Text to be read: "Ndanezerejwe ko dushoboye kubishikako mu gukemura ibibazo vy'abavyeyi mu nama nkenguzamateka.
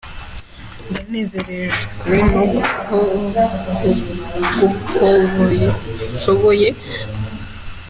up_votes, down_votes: 0, 2